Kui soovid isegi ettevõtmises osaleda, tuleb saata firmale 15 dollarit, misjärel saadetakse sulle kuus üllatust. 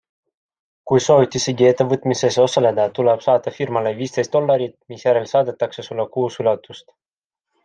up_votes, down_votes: 0, 2